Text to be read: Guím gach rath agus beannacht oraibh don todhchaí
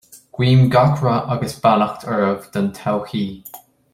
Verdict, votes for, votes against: accepted, 2, 0